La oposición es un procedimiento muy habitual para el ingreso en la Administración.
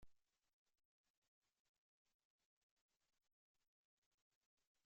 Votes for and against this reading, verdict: 0, 2, rejected